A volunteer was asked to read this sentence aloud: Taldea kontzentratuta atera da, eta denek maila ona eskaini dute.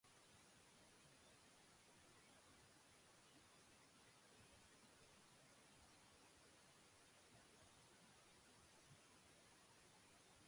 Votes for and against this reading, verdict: 0, 2, rejected